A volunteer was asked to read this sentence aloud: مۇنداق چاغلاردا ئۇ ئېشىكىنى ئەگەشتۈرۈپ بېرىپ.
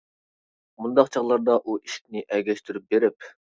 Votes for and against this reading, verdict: 0, 2, rejected